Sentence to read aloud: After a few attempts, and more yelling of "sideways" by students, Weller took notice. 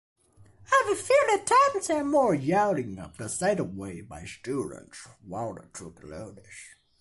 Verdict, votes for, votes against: rejected, 0, 2